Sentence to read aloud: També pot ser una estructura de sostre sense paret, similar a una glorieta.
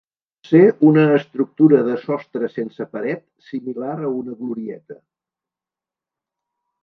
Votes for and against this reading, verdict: 1, 3, rejected